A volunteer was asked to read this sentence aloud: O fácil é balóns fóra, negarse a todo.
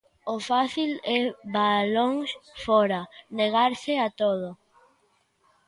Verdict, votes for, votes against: accepted, 2, 0